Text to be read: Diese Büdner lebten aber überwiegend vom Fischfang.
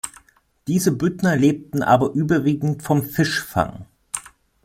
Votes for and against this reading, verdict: 2, 0, accepted